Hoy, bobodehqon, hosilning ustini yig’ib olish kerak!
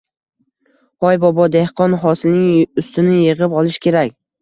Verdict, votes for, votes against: accepted, 2, 0